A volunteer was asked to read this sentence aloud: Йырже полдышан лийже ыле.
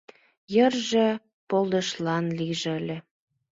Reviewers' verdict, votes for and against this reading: rejected, 1, 2